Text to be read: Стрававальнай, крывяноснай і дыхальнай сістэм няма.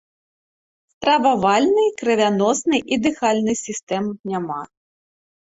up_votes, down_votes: 2, 0